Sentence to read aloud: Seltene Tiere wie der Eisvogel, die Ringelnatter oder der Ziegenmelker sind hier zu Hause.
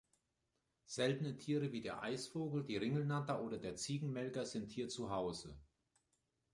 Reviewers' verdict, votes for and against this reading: accepted, 2, 0